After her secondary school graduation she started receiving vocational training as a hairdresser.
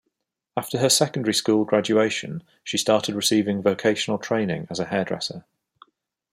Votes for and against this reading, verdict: 2, 0, accepted